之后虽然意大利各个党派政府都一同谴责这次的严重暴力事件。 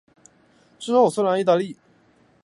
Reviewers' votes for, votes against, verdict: 0, 2, rejected